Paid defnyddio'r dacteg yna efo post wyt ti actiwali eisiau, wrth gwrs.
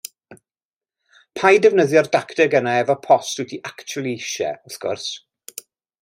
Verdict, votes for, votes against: accepted, 2, 0